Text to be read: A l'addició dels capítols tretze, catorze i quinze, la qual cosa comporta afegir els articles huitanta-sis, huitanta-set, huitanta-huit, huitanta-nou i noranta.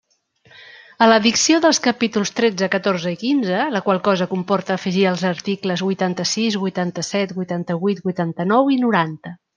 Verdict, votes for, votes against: accepted, 2, 1